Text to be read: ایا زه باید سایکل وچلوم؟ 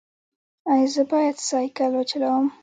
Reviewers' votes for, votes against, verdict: 2, 0, accepted